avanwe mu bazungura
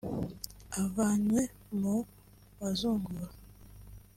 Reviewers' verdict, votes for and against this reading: rejected, 1, 2